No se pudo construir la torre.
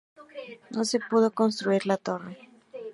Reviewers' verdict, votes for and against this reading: accepted, 2, 0